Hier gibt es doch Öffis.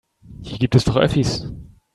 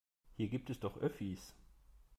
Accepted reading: second